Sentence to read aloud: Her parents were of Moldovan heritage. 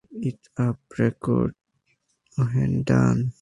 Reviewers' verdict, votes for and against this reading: rejected, 0, 2